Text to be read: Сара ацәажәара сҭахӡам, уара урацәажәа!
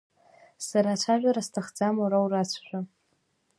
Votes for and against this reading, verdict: 2, 1, accepted